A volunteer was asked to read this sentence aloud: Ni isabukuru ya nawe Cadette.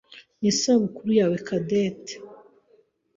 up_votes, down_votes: 1, 2